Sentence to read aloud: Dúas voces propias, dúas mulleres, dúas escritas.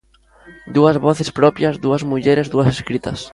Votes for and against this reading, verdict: 2, 0, accepted